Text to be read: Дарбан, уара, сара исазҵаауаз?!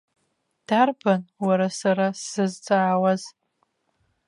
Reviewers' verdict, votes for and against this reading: rejected, 0, 2